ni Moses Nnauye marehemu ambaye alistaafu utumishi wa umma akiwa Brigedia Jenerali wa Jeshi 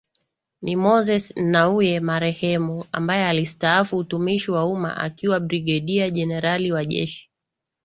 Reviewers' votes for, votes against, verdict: 3, 0, accepted